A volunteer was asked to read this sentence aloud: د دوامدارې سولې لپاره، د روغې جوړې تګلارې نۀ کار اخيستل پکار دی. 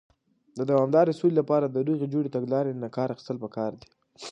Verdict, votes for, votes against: accepted, 2, 0